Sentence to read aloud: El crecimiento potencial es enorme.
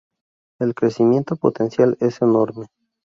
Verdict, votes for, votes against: rejected, 0, 2